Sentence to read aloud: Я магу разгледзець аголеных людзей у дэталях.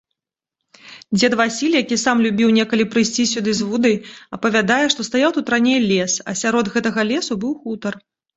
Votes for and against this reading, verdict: 0, 2, rejected